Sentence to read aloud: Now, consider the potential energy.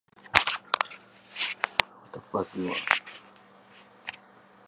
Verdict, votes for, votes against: rejected, 0, 2